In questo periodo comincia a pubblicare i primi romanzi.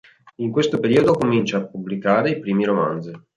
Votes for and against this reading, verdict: 2, 0, accepted